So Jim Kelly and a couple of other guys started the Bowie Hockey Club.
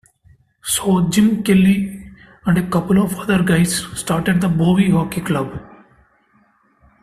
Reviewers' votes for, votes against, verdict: 2, 0, accepted